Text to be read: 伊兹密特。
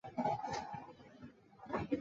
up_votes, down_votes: 0, 3